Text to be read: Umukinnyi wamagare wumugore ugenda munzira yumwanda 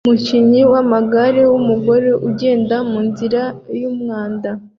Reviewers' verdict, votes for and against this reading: accepted, 2, 0